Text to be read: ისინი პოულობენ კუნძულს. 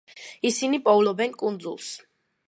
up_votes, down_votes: 2, 0